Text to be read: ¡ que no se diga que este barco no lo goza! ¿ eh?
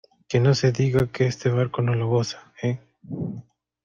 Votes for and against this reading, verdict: 2, 0, accepted